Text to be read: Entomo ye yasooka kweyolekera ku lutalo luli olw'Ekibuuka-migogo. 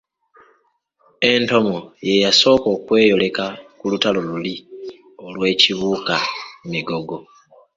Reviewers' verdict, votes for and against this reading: rejected, 0, 2